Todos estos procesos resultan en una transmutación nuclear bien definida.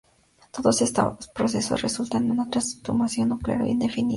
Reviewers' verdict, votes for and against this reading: rejected, 0, 4